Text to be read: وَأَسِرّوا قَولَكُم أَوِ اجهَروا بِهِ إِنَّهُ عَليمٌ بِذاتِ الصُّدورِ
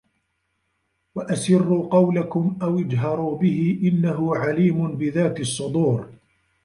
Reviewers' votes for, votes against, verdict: 1, 2, rejected